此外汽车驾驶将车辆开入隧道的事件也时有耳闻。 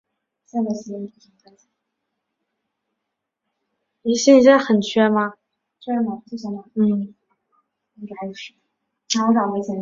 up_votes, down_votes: 0, 5